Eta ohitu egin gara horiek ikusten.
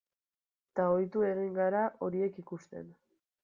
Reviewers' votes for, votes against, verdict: 1, 2, rejected